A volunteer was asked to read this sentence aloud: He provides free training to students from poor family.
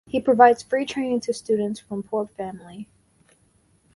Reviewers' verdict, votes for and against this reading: rejected, 2, 2